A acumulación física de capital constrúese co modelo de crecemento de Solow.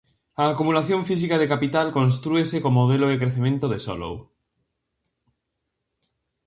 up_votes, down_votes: 2, 0